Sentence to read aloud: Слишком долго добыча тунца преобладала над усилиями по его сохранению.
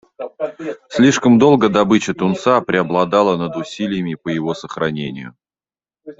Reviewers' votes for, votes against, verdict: 0, 2, rejected